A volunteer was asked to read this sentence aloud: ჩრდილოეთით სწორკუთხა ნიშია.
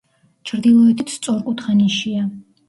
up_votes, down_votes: 1, 2